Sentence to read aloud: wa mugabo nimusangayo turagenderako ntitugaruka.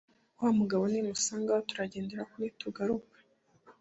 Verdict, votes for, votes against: accepted, 2, 0